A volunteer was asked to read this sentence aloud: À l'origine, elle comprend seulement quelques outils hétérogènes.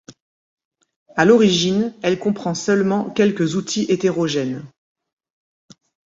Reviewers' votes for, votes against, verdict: 2, 0, accepted